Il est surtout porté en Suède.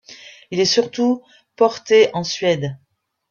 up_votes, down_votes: 2, 0